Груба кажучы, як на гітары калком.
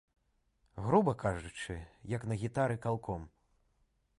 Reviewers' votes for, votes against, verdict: 2, 0, accepted